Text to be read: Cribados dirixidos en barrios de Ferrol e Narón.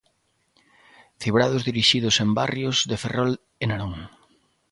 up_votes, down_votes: 0, 2